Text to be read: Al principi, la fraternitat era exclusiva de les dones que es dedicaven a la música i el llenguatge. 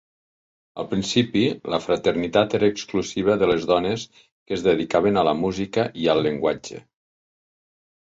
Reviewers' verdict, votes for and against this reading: accepted, 2, 1